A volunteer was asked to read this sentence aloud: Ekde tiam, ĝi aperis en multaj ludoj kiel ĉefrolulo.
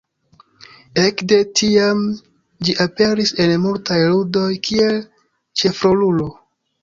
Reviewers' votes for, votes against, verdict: 0, 2, rejected